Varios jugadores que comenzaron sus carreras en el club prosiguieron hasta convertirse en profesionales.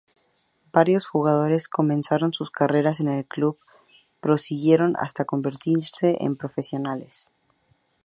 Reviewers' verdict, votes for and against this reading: rejected, 0, 4